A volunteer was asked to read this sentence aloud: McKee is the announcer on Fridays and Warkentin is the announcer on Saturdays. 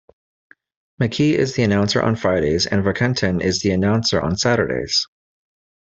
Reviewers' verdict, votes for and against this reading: accepted, 2, 0